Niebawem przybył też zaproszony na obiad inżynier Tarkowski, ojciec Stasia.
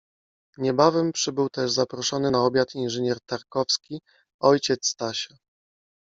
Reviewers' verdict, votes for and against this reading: accepted, 2, 0